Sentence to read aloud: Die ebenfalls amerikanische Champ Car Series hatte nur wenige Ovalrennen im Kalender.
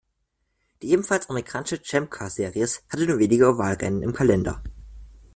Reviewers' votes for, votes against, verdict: 1, 2, rejected